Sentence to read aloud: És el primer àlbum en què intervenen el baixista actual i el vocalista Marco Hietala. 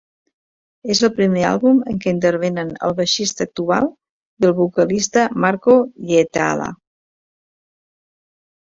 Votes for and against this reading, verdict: 1, 2, rejected